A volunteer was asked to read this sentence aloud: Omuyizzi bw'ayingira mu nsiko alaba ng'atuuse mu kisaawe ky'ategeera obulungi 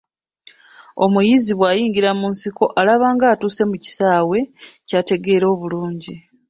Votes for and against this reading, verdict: 2, 0, accepted